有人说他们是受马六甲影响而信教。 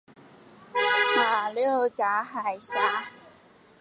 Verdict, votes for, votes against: rejected, 0, 2